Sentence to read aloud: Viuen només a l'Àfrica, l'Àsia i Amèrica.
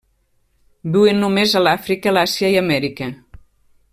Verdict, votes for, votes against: rejected, 1, 2